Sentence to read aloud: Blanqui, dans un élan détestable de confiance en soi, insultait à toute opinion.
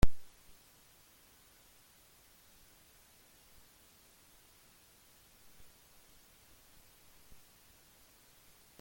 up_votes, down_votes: 0, 2